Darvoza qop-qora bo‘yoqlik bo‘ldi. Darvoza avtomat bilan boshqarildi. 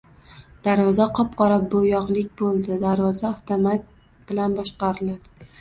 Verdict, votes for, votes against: rejected, 0, 2